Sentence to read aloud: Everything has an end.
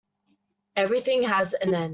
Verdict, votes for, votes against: rejected, 0, 2